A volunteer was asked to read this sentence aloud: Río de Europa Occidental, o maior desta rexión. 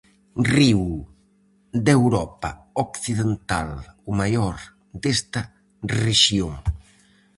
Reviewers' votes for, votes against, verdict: 2, 2, rejected